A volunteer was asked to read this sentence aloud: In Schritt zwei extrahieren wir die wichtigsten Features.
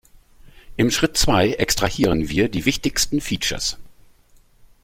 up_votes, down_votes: 1, 2